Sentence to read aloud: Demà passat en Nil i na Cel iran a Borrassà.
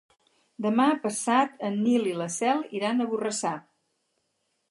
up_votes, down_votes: 2, 4